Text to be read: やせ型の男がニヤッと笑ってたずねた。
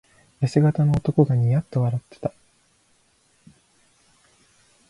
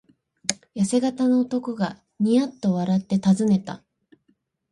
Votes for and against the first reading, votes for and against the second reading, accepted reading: 0, 2, 62, 2, second